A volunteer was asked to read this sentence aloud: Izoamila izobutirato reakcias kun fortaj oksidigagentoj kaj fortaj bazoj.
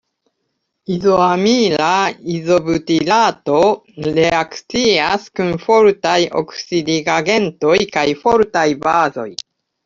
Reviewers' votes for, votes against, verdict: 1, 2, rejected